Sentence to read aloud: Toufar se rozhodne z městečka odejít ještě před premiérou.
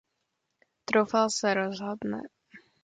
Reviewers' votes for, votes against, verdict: 0, 2, rejected